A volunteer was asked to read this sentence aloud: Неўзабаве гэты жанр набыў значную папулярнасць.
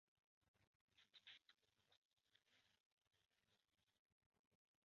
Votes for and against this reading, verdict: 0, 2, rejected